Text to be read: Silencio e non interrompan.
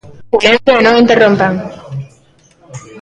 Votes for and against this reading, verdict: 0, 2, rejected